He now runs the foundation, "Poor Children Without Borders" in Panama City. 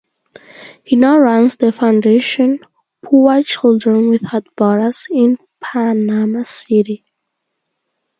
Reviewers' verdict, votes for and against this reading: accepted, 2, 0